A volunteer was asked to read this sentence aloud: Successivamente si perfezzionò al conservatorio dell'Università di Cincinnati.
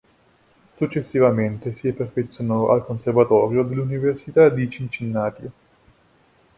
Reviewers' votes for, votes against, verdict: 1, 2, rejected